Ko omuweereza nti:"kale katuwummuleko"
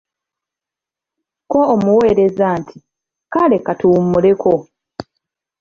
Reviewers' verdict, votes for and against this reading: accepted, 2, 0